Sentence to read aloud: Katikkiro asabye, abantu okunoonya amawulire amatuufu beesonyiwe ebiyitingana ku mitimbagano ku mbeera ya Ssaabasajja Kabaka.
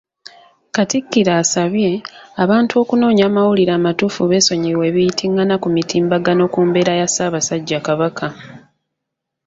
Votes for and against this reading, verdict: 2, 1, accepted